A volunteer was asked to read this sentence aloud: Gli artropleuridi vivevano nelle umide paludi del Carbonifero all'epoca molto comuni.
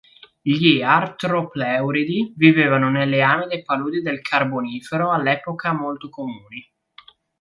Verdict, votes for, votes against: rejected, 0, 3